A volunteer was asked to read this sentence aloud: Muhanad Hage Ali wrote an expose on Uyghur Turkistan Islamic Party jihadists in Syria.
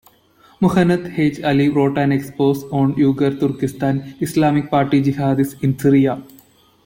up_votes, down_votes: 1, 2